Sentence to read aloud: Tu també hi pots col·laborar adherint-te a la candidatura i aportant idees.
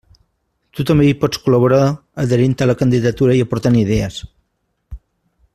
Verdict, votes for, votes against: accepted, 2, 0